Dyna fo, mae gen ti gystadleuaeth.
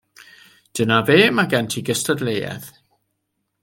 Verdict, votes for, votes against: rejected, 1, 2